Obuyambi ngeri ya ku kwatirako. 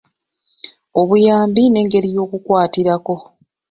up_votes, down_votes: 1, 2